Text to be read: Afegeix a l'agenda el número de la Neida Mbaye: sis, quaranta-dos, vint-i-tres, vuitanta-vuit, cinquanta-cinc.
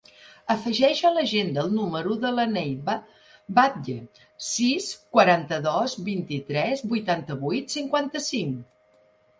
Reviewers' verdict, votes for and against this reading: rejected, 1, 2